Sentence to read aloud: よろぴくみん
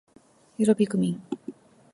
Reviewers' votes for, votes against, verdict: 2, 0, accepted